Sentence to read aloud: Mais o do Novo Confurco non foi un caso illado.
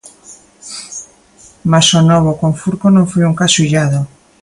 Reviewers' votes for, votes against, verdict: 1, 2, rejected